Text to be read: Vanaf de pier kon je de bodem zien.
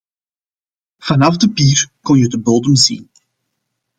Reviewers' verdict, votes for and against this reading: accepted, 2, 0